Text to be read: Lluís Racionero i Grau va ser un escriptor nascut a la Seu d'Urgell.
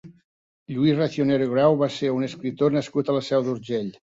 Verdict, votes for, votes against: rejected, 1, 2